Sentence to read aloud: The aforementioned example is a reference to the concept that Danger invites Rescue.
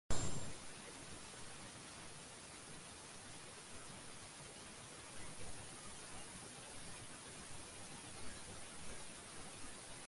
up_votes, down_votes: 0, 2